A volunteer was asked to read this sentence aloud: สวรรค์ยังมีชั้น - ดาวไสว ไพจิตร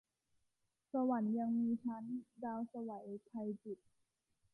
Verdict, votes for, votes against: accepted, 2, 0